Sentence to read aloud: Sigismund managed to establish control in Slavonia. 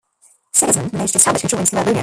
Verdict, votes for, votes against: rejected, 0, 2